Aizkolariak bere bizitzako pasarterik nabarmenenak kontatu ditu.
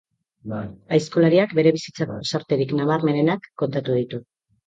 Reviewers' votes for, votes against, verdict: 0, 2, rejected